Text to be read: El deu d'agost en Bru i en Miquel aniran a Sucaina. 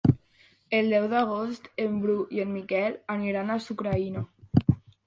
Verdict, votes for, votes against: rejected, 1, 2